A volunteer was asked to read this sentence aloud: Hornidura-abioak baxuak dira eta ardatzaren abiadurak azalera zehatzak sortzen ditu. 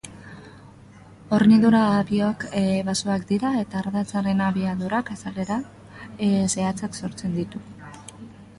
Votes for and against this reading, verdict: 0, 2, rejected